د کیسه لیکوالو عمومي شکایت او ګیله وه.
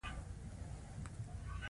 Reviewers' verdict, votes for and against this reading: rejected, 1, 2